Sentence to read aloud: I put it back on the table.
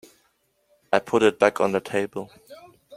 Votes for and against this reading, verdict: 2, 0, accepted